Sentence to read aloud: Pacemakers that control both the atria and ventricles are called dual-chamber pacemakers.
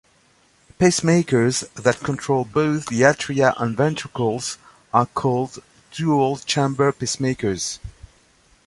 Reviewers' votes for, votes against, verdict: 2, 0, accepted